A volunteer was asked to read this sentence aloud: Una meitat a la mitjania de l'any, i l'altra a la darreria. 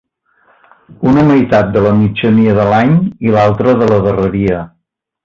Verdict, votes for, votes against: rejected, 0, 2